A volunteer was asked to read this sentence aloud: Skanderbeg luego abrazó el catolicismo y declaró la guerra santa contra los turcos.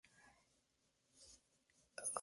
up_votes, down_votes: 0, 4